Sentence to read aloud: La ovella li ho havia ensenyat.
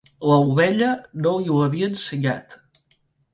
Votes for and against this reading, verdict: 0, 2, rejected